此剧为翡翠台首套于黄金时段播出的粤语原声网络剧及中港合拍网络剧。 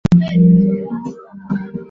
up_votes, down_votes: 0, 4